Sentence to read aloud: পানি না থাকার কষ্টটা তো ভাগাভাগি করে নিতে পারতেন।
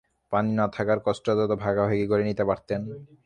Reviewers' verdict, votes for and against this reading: rejected, 0, 6